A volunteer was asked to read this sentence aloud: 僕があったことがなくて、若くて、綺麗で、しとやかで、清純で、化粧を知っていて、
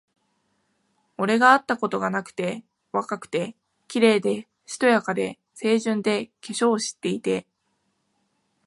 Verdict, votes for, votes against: rejected, 0, 2